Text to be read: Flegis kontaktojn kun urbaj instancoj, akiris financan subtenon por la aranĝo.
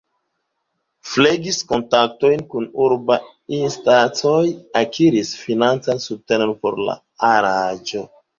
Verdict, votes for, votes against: rejected, 1, 2